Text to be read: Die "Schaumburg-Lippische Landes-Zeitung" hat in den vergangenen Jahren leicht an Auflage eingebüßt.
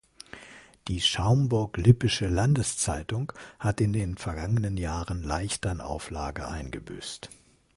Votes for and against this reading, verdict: 2, 0, accepted